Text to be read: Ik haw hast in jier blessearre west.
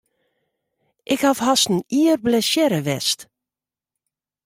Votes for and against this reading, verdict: 2, 0, accepted